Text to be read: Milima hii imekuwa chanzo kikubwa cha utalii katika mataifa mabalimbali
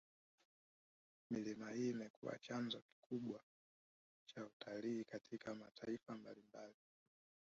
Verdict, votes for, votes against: rejected, 0, 3